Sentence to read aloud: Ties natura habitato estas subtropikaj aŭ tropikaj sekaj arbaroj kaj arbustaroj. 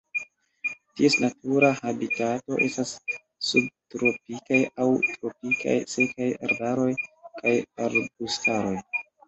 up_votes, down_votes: 2, 0